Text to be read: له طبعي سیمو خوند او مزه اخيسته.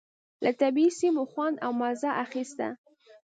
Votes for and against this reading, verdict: 2, 0, accepted